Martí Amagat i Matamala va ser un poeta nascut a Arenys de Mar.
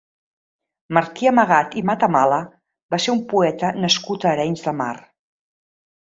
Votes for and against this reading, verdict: 2, 0, accepted